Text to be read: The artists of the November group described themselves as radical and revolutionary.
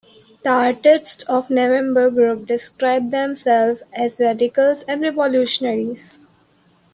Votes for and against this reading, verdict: 0, 2, rejected